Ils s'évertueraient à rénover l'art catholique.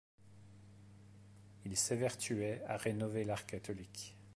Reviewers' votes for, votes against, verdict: 1, 2, rejected